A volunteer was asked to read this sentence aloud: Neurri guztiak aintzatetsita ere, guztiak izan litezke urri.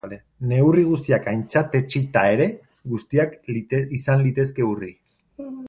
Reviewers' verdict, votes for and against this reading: rejected, 0, 2